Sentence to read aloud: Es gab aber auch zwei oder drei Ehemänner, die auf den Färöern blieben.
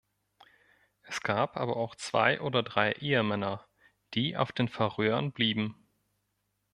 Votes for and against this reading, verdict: 2, 0, accepted